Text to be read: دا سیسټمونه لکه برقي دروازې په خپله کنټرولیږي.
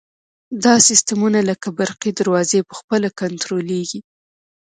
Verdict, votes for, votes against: accepted, 2, 0